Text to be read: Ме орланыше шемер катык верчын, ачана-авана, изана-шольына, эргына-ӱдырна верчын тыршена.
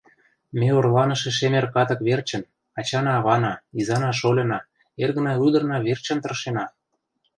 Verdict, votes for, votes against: accepted, 2, 0